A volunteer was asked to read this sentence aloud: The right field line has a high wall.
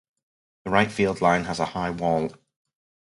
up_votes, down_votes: 2, 0